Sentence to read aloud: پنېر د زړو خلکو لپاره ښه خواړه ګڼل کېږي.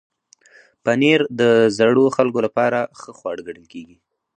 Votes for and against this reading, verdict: 2, 0, accepted